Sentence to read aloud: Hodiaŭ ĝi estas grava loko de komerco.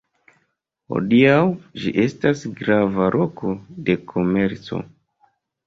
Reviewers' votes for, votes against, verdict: 2, 1, accepted